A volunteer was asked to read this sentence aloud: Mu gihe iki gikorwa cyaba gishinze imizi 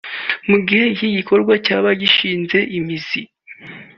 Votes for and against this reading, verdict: 3, 0, accepted